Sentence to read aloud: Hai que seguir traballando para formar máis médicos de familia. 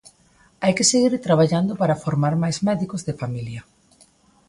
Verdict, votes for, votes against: accepted, 2, 0